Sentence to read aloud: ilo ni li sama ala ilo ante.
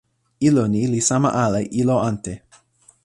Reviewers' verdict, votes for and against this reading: accepted, 2, 0